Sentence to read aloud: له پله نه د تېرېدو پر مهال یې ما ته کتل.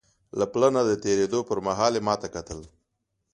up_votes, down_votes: 2, 0